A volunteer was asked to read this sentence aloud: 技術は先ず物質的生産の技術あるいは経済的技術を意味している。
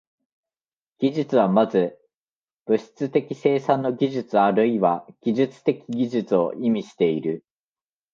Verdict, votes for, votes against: rejected, 1, 2